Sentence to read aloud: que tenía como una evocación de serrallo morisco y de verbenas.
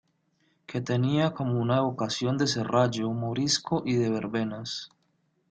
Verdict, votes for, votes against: rejected, 0, 2